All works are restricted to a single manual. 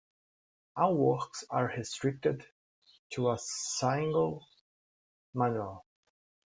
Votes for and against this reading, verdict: 2, 1, accepted